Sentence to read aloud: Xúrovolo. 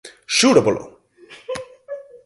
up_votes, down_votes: 2, 4